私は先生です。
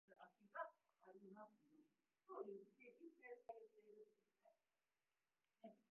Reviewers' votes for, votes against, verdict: 0, 2, rejected